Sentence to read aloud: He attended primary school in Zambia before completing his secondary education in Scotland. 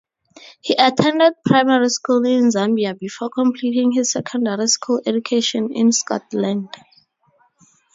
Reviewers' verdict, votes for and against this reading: rejected, 0, 2